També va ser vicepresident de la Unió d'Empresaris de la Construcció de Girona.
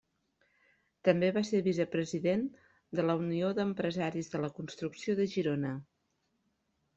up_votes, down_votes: 3, 0